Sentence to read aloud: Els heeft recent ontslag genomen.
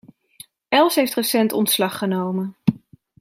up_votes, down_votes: 2, 0